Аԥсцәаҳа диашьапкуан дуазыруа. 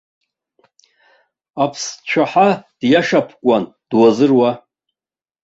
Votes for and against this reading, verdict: 1, 2, rejected